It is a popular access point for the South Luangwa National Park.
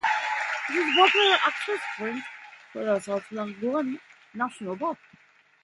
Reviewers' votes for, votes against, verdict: 0, 2, rejected